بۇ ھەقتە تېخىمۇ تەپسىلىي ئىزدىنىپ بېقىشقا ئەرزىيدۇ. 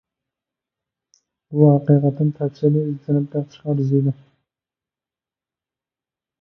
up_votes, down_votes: 0, 2